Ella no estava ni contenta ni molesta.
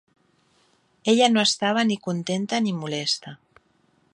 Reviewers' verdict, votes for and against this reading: accepted, 3, 0